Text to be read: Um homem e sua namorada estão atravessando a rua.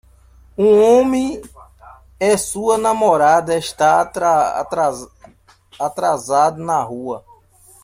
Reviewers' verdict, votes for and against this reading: rejected, 0, 2